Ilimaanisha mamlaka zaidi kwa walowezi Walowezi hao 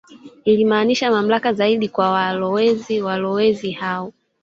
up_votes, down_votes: 1, 2